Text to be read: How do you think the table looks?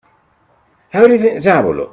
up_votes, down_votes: 0, 2